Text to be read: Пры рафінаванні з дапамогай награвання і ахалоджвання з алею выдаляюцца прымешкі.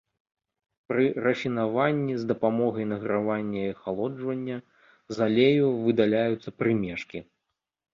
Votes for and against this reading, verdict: 2, 0, accepted